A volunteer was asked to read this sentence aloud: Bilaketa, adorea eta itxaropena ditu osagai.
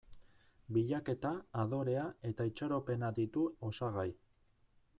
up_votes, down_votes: 1, 2